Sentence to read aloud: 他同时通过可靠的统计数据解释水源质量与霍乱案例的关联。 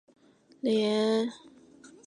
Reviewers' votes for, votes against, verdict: 0, 2, rejected